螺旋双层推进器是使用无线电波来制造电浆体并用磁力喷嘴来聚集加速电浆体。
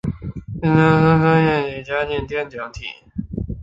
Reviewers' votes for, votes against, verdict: 0, 3, rejected